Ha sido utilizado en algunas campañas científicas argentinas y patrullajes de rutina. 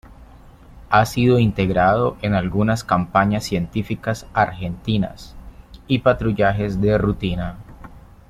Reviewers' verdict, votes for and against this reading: rejected, 1, 2